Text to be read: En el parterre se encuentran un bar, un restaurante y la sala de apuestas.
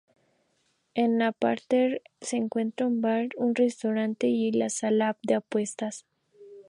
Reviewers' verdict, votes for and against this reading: accepted, 2, 0